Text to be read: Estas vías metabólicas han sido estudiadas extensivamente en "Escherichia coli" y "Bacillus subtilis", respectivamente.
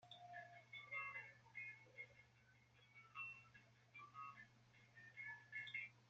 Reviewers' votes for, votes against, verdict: 0, 2, rejected